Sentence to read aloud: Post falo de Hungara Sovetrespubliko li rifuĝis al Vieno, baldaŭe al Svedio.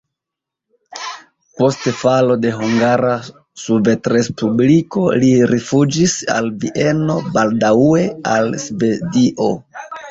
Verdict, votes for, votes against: rejected, 0, 2